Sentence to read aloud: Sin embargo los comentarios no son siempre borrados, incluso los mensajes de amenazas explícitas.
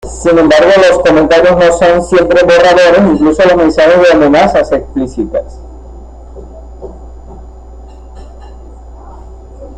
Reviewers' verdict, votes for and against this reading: rejected, 0, 2